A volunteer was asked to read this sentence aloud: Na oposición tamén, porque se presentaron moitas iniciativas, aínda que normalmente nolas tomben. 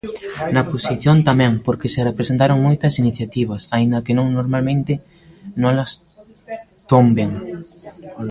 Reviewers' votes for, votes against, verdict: 0, 2, rejected